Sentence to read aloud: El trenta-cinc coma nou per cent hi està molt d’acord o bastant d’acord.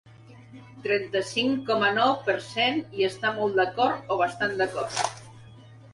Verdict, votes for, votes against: rejected, 1, 3